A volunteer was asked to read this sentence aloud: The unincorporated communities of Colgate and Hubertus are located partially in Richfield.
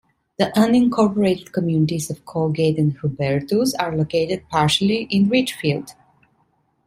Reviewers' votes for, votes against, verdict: 2, 0, accepted